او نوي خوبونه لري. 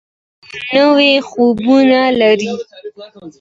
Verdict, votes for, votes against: accepted, 2, 0